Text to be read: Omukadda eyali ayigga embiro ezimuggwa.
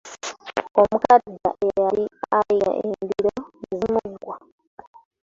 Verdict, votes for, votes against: rejected, 0, 2